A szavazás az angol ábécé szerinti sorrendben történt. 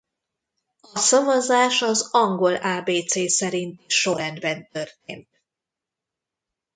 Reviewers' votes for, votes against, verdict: 0, 2, rejected